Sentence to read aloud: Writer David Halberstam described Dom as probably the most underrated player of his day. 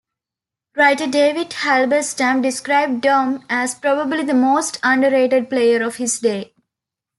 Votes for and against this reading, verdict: 2, 0, accepted